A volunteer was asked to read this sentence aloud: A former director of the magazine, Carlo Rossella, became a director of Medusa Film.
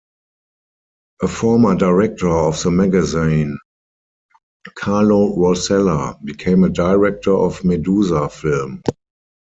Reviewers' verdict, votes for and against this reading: accepted, 4, 0